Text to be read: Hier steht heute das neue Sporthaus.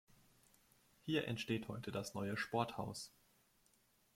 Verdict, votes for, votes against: rejected, 1, 2